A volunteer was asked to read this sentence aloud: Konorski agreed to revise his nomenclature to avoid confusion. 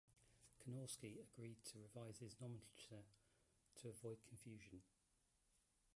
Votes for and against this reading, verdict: 0, 2, rejected